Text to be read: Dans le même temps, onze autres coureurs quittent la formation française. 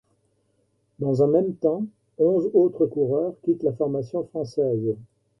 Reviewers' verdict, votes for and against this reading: rejected, 0, 2